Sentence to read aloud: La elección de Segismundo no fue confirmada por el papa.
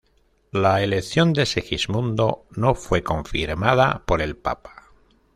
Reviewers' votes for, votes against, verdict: 2, 0, accepted